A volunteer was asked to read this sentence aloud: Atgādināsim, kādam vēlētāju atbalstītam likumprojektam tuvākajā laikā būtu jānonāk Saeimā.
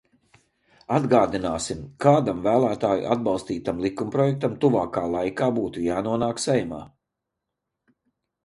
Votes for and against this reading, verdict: 0, 2, rejected